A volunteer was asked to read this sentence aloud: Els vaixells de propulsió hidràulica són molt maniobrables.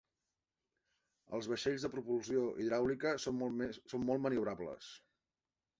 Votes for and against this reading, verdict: 1, 2, rejected